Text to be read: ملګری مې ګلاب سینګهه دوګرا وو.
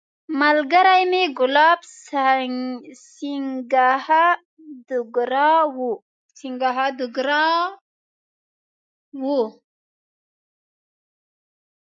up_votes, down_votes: 1, 4